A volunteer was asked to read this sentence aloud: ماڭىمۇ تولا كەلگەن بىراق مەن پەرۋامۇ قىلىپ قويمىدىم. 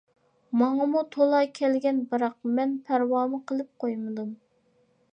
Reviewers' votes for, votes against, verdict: 2, 0, accepted